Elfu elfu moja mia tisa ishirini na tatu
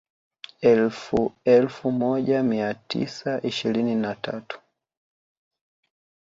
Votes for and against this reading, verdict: 0, 2, rejected